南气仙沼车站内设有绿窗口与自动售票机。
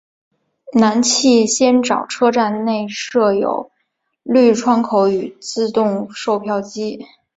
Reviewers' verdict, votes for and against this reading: accepted, 3, 1